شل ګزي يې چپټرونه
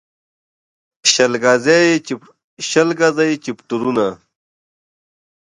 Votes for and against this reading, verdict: 1, 2, rejected